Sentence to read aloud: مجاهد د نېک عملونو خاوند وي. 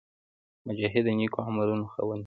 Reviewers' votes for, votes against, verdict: 0, 2, rejected